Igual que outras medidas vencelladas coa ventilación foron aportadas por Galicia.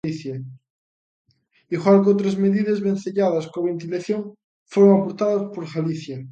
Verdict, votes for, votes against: rejected, 0, 2